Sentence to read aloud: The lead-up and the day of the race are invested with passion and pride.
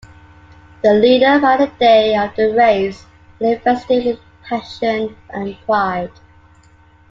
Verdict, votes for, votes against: rejected, 1, 2